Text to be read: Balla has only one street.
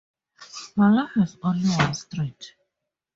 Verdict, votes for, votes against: accepted, 12, 2